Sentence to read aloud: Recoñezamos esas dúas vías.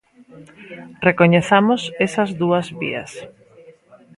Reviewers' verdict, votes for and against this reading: rejected, 1, 2